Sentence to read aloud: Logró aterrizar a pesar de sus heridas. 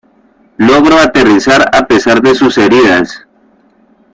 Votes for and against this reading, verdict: 1, 2, rejected